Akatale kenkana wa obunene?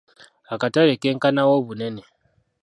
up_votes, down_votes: 0, 2